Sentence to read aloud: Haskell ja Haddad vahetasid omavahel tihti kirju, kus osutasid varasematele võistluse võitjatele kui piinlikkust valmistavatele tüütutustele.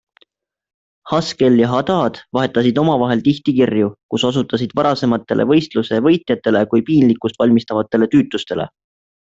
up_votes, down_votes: 2, 0